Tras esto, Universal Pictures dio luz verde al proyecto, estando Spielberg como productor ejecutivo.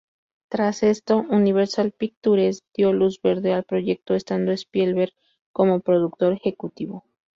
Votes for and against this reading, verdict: 2, 0, accepted